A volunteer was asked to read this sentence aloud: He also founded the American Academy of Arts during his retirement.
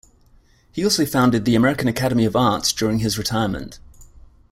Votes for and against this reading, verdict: 2, 0, accepted